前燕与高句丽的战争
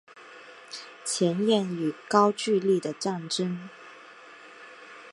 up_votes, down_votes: 2, 0